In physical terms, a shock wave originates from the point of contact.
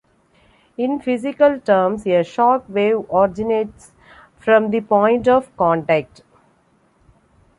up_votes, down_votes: 2, 0